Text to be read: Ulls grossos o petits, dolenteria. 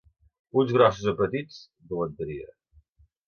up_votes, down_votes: 2, 0